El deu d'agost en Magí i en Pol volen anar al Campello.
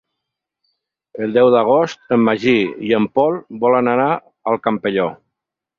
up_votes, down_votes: 4, 6